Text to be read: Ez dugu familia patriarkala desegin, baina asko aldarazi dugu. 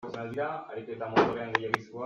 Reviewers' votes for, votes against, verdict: 0, 2, rejected